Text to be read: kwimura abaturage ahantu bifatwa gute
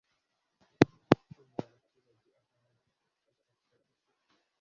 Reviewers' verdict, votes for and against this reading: rejected, 1, 2